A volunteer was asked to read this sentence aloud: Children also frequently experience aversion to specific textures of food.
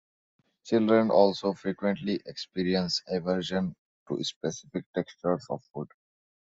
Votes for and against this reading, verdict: 1, 2, rejected